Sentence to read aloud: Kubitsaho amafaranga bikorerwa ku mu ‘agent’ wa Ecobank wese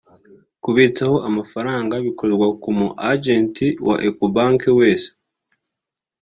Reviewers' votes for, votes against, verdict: 2, 0, accepted